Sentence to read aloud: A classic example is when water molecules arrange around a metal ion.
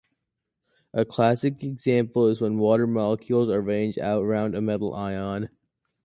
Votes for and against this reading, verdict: 0, 2, rejected